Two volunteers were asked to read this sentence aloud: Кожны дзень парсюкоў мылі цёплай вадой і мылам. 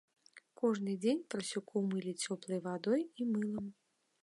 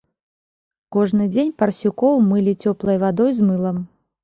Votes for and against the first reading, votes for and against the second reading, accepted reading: 2, 0, 0, 2, first